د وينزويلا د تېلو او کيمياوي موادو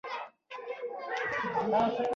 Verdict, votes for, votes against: rejected, 1, 2